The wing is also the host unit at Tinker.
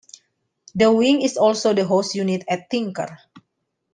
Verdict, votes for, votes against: accepted, 2, 0